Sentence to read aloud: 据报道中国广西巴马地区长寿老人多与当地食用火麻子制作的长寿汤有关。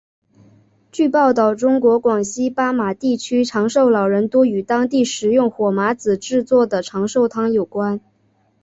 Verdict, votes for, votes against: accepted, 3, 0